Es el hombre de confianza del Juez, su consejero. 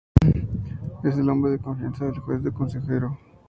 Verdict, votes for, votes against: accepted, 4, 0